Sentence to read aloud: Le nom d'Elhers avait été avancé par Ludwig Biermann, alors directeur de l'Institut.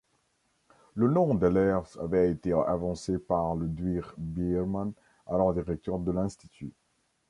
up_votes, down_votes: 1, 3